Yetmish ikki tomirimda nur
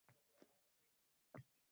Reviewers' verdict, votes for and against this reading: rejected, 0, 2